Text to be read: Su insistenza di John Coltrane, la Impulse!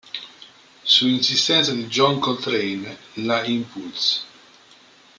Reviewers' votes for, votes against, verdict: 1, 2, rejected